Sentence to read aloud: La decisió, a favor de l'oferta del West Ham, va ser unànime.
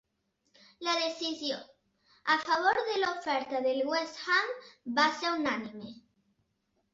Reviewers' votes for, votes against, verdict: 4, 0, accepted